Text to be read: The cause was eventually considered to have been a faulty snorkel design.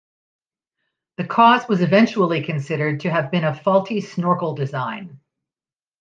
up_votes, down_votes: 2, 0